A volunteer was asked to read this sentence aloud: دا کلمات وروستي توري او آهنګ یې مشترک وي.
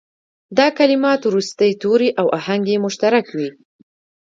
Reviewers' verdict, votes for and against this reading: accepted, 2, 0